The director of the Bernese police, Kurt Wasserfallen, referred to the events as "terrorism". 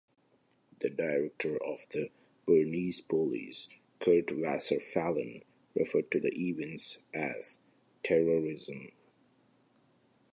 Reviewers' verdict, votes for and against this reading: rejected, 1, 2